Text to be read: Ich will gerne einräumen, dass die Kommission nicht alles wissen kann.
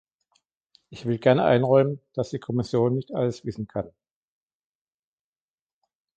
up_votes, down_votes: 2, 0